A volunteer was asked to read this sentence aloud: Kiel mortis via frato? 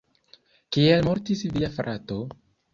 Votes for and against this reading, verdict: 2, 0, accepted